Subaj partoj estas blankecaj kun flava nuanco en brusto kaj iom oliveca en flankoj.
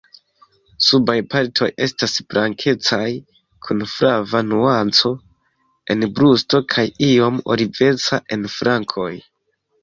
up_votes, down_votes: 2, 1